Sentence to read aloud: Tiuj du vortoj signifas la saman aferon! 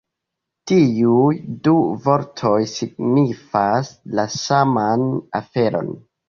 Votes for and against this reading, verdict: 2, 0, accepted